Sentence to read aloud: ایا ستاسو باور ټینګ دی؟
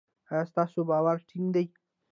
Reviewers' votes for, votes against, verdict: 1, 2, rejected